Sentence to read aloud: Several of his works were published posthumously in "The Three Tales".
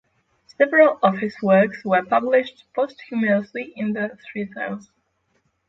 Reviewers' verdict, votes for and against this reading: accepted, 6, 0